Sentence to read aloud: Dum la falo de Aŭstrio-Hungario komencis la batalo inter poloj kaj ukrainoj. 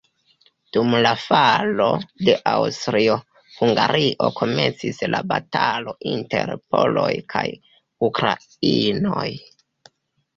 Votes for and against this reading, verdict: 2, 1, accepted